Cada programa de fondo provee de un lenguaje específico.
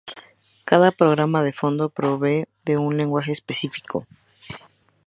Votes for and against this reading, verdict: 2, 0, accepted